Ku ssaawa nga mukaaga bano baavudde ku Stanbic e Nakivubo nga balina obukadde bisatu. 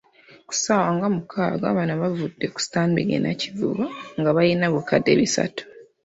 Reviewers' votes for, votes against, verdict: 2, 0, accepted